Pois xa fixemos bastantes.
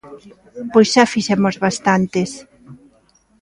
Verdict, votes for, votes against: rejected, 0, 2